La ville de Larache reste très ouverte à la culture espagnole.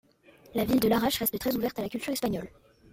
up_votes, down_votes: 2, 0